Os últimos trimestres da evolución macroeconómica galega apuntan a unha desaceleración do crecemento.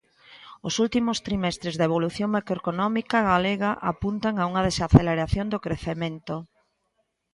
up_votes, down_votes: 2, 0